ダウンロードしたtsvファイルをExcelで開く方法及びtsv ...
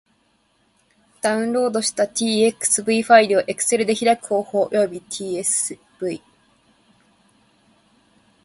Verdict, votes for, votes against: rejected, 0, 2